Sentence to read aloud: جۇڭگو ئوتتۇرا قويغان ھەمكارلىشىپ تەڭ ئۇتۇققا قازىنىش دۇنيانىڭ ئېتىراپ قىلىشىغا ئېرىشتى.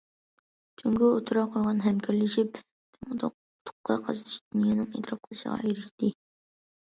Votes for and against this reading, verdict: 0, 2, rejected